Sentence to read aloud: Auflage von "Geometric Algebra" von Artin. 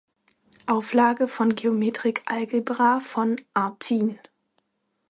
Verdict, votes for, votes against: accepted, 2, 0